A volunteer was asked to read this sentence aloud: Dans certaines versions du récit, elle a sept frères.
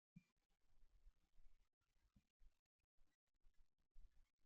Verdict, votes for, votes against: rejected, 0, 2